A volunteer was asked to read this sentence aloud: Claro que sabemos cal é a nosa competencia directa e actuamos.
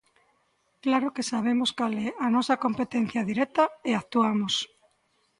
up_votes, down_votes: 2, 5